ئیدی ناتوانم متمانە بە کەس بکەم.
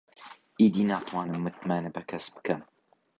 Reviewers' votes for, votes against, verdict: 2, 0, accepted